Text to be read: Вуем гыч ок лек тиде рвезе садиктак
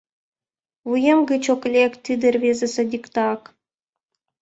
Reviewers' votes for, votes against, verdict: 2, 0, accepted